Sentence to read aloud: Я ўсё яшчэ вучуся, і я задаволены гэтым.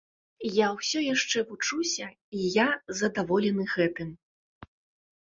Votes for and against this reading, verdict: 2, 0, accepted